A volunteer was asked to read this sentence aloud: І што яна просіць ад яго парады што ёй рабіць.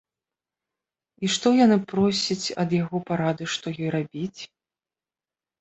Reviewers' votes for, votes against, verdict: 0, 2, rejected